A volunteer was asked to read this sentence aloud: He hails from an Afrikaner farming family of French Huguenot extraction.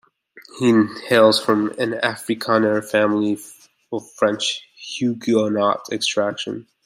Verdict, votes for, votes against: accepted, 2, 0